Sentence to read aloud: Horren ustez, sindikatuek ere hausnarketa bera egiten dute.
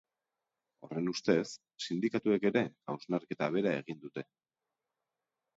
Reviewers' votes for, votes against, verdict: 1, 2, rejected